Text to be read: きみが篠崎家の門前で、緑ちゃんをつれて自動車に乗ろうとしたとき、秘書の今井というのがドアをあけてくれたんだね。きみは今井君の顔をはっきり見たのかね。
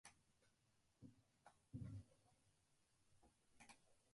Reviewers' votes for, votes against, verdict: 0, 2, rejected